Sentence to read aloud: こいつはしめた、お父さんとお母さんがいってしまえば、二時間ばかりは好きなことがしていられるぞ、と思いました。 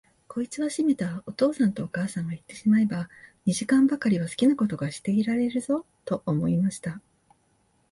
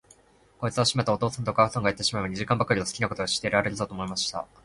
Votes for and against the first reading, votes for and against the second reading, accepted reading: 0, 2, 2, 0, second